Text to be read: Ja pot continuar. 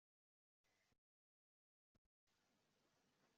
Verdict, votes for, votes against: rejected, 0, 2